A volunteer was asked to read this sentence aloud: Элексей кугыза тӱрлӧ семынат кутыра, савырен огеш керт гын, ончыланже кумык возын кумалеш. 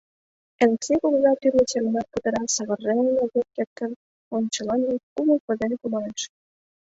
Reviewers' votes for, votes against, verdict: 3, 0, accepted